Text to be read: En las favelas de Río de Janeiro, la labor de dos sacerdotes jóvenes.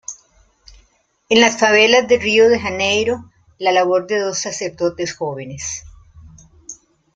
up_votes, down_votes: 1, 2